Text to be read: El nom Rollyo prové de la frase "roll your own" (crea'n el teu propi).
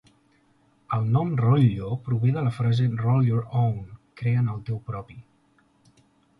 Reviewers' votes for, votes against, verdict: 3, 0, accepted